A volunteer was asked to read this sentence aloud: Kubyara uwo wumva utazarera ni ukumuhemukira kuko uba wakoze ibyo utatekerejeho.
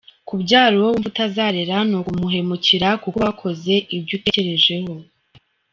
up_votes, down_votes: 0, 2